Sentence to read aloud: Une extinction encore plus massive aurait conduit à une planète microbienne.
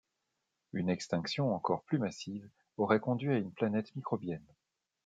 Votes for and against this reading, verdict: 2, 0, accepted